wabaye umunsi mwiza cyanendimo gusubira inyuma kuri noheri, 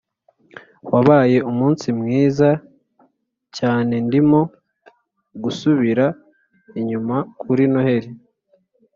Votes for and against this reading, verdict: 2, 0, accepted